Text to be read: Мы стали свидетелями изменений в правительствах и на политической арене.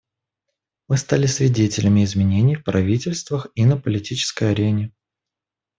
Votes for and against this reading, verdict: 2, 0, accepted